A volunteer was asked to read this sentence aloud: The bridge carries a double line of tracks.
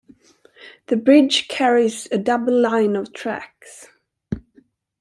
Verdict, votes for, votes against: accepted, 2, 0